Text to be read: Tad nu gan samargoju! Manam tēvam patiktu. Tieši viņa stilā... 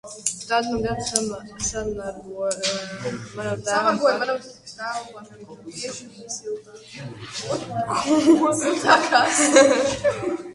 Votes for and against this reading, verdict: 0, 2, rejected